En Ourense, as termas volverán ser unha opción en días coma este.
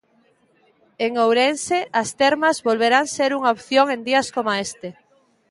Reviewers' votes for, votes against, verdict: 2, 0, accepted